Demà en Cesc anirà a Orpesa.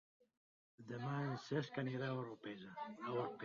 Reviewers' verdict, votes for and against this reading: rejected, 1, 2